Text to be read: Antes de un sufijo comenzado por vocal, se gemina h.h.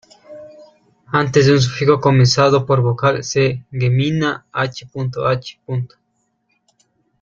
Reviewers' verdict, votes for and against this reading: rejected, 1, 2